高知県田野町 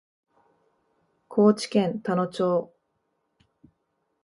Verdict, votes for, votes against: accepted, 2, 0